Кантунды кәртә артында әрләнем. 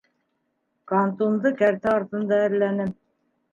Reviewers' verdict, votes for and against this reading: rejected, 1, 2